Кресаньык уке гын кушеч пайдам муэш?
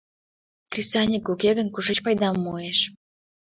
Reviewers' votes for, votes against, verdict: 2, 0, accepted